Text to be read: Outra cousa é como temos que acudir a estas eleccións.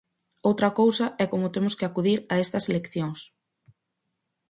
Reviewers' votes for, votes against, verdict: 4, 0, accepted